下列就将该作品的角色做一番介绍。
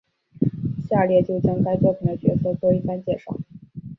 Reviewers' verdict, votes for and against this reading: accepted, 2, 0